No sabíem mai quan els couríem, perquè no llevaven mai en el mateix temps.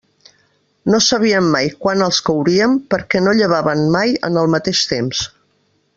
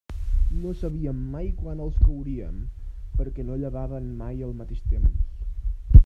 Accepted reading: first